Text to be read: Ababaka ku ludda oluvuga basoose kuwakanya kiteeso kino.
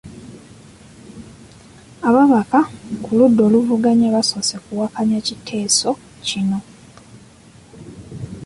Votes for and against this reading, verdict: 2, 0, accepted